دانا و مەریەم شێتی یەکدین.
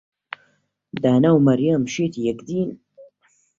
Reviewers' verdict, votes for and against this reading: accepted, 2, 0